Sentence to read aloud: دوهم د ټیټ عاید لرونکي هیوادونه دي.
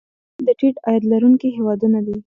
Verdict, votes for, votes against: accepted, 2, 1